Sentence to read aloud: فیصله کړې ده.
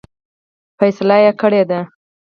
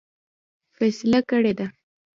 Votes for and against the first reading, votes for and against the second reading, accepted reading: 0, 4, 2, 0, second